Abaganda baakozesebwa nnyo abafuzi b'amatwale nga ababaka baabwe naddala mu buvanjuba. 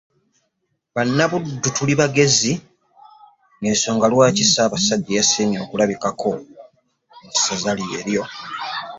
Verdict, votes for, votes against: rejected, 0, 2